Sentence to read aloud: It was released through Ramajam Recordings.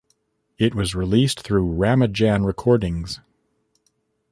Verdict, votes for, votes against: rejected, 1, 2